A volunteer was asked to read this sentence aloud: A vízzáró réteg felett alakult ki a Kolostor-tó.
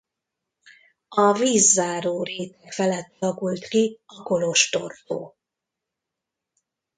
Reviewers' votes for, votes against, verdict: 1, 2, rejected